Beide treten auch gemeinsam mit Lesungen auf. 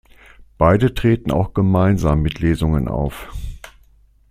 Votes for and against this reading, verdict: 2, 0, accepted